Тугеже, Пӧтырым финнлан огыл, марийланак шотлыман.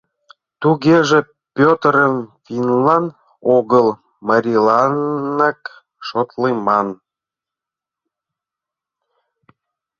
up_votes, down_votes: 0, 2